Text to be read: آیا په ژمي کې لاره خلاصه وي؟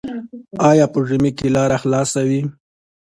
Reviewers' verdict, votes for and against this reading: accepted, 2, 0